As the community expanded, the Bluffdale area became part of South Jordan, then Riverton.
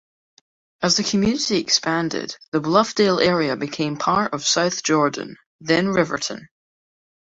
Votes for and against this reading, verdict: 2, 0, accepted